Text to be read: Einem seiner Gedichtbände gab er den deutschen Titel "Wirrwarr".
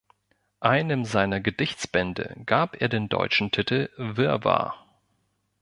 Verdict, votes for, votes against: rejected, 0, 2